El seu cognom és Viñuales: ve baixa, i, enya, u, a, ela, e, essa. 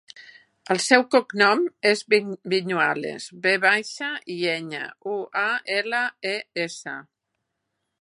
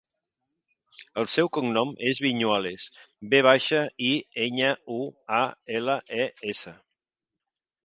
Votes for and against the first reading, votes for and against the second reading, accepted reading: 0, 2, 2, 0, second